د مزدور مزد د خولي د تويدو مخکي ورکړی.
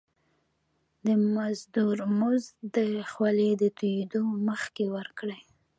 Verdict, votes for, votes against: accepted, 2, 1